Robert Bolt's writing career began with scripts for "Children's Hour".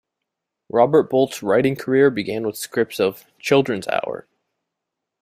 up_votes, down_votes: 1, 2